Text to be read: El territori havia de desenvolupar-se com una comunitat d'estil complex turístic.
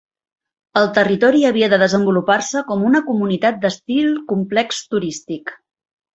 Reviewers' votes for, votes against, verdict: 3, 0, accepted